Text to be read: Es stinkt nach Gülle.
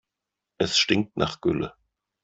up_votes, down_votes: 2, 0